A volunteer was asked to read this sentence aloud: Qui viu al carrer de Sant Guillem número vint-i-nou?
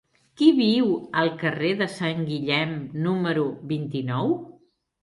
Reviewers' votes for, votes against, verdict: 6, 0, accepted